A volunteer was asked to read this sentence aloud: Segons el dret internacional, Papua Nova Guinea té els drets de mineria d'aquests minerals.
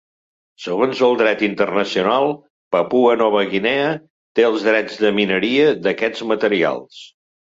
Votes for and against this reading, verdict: 0, 3, rejected